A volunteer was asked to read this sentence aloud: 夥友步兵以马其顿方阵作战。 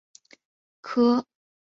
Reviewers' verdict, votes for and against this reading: rejected, 0, 3